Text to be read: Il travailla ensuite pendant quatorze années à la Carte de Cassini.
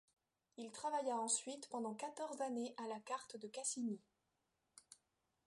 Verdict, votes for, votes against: rejected, 1, 2